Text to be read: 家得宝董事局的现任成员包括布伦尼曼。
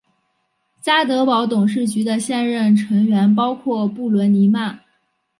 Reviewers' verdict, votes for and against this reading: rejected, 0, 2